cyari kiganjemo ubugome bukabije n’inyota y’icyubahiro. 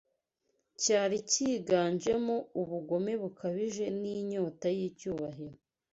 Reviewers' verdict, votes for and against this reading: accepted, 2, 0